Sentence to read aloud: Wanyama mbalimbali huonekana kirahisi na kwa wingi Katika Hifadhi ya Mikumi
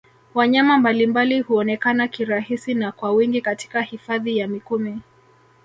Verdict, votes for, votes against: rejected, 0, 2